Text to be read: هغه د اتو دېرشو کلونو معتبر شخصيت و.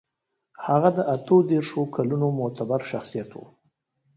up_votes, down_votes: 2, 0